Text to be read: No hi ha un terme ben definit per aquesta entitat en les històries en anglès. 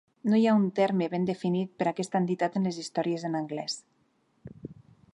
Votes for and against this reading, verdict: 3, 0, accepted